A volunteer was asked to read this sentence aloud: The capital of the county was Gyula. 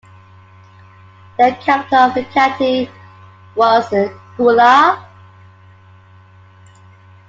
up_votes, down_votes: 0, 2